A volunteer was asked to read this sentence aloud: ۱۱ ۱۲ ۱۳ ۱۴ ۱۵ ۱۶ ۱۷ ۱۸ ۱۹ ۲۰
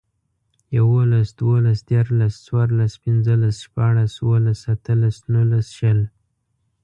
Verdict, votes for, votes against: rejected, 0, 2